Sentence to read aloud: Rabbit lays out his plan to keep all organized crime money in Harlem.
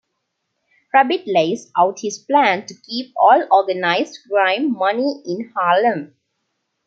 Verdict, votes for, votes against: accepted, 2, 1